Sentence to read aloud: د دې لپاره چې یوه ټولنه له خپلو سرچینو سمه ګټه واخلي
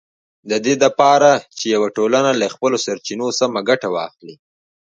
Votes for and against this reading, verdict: 3, 0, accepted